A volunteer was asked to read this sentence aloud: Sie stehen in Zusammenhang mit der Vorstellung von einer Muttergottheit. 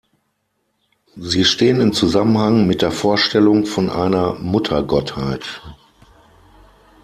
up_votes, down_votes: 6, 0